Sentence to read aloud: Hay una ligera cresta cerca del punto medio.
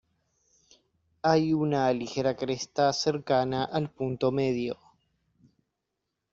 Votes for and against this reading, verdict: 0, 2, rejected